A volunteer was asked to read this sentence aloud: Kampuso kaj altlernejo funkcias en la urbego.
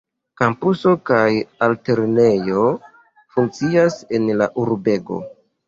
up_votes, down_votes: 0, 2